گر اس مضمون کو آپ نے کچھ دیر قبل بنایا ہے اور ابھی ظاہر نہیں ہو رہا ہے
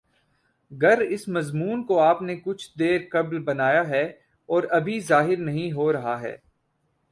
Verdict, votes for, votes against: rejected, 0, 2